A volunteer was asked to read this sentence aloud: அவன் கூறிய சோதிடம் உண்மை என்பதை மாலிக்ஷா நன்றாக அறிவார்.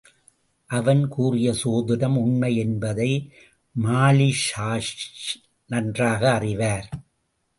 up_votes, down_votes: 0, 2